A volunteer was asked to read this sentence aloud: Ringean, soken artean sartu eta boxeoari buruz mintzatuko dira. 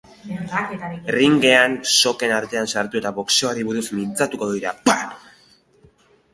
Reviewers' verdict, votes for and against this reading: accepted, 3, 2